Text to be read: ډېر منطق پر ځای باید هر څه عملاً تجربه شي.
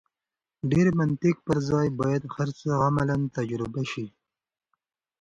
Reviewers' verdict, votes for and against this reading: accepted, 2, 1